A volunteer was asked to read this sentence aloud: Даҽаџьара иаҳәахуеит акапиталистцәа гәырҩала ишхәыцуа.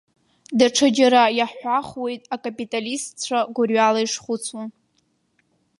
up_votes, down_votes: 2, 0